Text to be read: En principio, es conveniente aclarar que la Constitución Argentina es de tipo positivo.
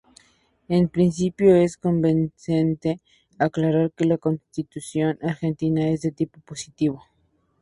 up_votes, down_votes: 0, 4